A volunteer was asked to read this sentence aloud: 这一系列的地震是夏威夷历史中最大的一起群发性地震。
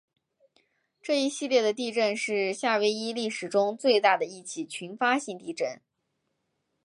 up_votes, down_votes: 6, 0